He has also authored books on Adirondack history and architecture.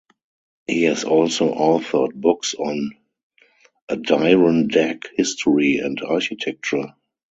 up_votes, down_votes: 2, 0